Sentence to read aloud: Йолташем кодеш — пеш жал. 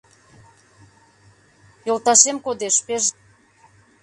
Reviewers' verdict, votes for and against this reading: rejected, 0, 2